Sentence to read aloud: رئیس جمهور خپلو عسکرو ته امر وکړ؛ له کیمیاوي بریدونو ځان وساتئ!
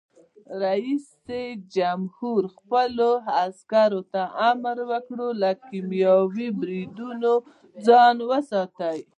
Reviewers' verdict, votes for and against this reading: accepted, 2, 0